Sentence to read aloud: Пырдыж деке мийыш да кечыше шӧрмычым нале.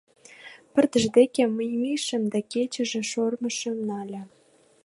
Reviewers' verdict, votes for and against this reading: rejected, 1, 2